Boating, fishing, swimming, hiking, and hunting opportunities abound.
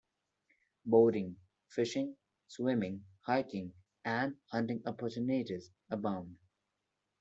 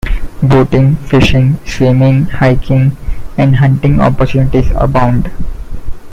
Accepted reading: second